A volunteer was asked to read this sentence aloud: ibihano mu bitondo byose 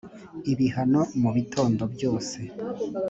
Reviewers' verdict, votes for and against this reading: accepted, 2, 0